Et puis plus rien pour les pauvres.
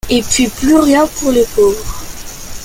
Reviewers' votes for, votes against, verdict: 2, 0, accepted